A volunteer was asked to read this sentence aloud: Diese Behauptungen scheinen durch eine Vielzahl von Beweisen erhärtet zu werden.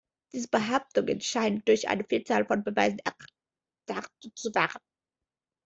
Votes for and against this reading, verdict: 0, 2, rejected